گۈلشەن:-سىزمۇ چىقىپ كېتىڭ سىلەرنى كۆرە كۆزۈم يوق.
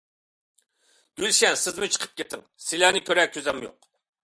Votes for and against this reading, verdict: 2, 0, accepted